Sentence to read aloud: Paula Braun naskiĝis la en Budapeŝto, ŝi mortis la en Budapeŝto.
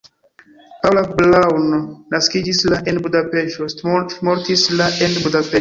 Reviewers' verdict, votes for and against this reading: rejected, 1, 2